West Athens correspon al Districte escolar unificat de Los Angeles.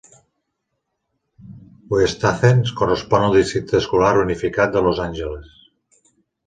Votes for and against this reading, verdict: 2, 0, accepted